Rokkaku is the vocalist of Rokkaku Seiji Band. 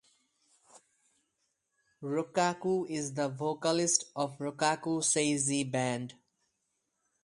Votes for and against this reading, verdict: 2, 4, rejected